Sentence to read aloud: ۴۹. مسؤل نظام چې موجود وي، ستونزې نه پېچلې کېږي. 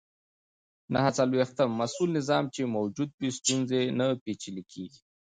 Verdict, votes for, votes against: rejected, 0, 2